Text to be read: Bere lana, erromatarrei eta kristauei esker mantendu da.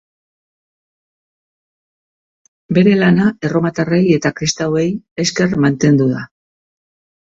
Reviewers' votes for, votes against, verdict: 2, 0, accepted